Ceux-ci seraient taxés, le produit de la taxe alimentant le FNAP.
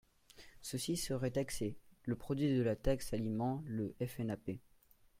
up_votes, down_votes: 0, 2